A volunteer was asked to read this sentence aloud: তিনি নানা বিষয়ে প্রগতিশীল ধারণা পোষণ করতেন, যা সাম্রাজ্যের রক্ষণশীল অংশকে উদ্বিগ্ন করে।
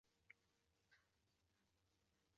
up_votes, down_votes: 0, 2